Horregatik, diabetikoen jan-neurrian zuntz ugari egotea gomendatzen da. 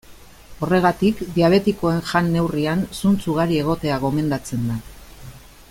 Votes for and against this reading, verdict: 2, 0, accepted